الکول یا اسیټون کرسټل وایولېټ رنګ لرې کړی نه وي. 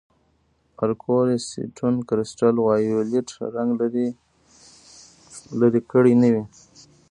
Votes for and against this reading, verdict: 1, 3, rejected